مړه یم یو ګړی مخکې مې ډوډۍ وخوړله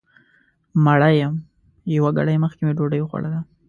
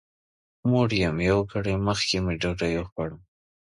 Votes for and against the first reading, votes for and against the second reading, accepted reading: 2, 0, 1, 2, first